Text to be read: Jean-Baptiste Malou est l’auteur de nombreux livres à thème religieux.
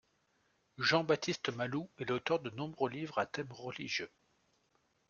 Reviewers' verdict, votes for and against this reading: accepted, 2, 1